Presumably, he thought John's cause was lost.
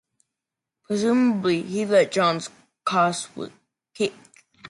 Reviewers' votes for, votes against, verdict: 0, 2, rejected